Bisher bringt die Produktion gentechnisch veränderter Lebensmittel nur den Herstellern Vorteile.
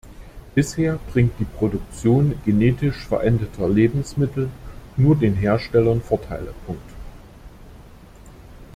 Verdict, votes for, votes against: rejected, 0, 2